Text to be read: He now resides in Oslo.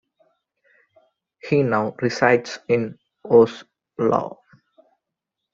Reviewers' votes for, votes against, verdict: 1, 2, rejected